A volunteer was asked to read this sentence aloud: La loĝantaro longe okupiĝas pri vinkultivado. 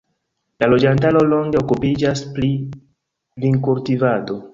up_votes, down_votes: 1, 2